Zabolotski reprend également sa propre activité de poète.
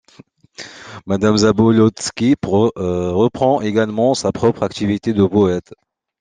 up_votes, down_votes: 0, 2